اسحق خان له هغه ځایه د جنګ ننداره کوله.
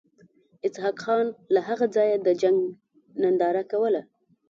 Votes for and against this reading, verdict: 2, 0, accepted